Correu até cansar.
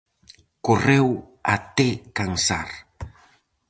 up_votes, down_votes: 4, 0